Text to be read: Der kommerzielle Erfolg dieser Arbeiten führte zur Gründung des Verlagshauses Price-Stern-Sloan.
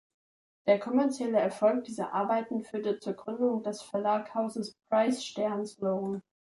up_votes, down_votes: 1, 2